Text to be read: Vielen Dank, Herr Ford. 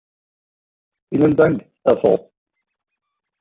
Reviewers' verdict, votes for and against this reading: accepted, 2, 1